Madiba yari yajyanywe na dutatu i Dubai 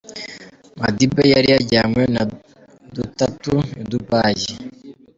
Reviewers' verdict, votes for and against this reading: accepted, 3, 2